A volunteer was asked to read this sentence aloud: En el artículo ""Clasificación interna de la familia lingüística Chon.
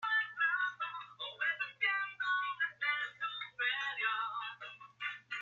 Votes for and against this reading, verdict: 0, 2, rejected